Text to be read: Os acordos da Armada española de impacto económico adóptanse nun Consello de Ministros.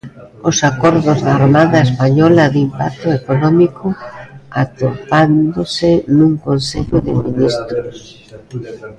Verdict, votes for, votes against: rejected, 0, 2